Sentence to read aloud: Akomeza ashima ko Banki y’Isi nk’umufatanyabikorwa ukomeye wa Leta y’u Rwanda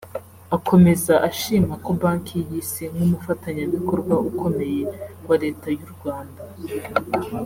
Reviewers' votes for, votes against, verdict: 2, 1, accepted